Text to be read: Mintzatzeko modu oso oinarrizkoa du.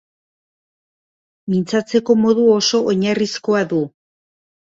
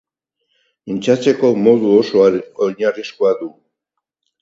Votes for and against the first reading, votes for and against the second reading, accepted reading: 2, 0, 2, 4, first